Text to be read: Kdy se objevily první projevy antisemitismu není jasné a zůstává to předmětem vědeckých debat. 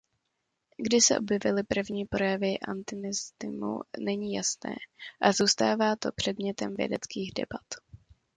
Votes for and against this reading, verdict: 1, 2, rejected